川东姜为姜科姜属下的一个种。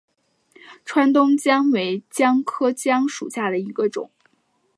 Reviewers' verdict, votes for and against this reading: accepted, 2, 1